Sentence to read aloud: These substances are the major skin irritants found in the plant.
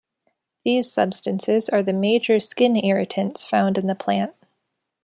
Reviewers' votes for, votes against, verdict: 2, 0, accepted